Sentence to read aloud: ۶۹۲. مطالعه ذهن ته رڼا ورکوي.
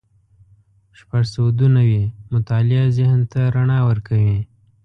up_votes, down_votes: 0, 2